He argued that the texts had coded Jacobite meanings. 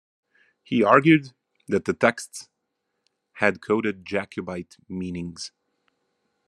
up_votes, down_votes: 2, 0